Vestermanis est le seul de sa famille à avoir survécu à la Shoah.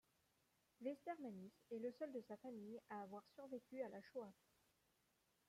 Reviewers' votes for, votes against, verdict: 2, 0, accepted